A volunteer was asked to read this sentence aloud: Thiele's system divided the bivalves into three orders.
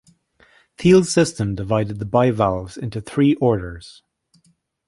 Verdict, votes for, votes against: accepted, 2, 0